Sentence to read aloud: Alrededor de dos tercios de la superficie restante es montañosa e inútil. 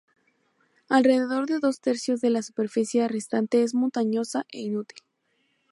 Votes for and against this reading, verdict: 0, 2, rejected